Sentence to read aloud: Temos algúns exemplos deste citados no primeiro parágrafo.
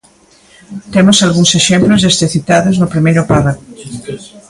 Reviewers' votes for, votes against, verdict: 0, 2, rejected